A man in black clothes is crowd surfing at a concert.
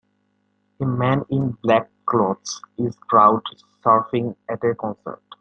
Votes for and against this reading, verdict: 2, 0, accepted